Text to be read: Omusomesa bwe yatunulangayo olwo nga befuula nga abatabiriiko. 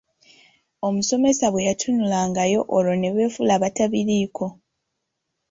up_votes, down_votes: 0, 2